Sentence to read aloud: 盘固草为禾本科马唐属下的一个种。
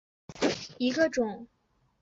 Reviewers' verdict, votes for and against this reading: rejected, 0, 2